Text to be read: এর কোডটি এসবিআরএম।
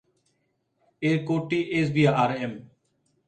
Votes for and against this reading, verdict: 4, 1, accepted